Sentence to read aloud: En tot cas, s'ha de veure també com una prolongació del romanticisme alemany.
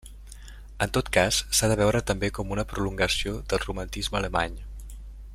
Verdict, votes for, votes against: rejected, 0, 2